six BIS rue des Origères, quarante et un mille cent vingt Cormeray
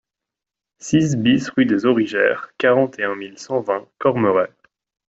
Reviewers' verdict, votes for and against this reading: accepted, 2, 1